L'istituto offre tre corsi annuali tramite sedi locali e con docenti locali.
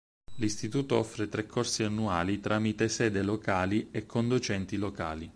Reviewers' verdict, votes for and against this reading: accepted, 4, 2